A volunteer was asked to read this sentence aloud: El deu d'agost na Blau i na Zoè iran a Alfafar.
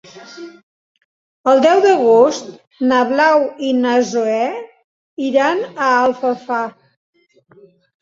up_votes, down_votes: 2, 0